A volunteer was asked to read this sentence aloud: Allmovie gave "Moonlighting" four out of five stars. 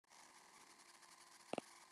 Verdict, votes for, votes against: rejected, 0, 2